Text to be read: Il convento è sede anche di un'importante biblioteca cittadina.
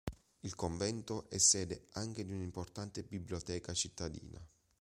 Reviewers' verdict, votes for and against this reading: accepted, 3, 0